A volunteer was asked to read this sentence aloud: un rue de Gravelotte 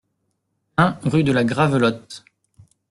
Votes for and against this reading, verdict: 1, 2, rejected